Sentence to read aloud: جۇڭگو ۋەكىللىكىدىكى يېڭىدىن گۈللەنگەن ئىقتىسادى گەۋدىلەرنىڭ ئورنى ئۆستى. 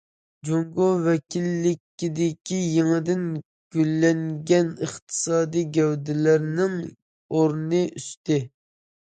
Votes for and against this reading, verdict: 1, 2, rejected